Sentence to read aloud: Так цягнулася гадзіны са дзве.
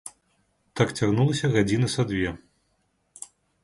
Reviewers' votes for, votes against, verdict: 1, 2, rejected